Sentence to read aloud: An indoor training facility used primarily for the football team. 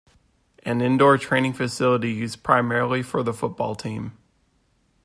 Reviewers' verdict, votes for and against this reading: accepted, 2, 0